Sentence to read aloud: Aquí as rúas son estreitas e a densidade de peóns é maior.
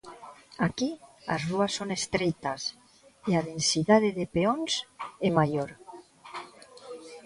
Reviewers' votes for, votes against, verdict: 2, 0, accepted